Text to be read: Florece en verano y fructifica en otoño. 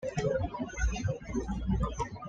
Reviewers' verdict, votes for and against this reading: rejected, 1, 2